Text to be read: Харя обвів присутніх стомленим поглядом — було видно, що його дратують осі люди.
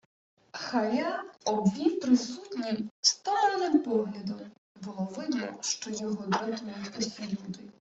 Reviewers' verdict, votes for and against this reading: accepted, 2, 0